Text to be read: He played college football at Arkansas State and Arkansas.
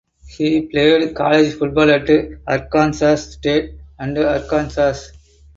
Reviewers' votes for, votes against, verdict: 0, 2, rejected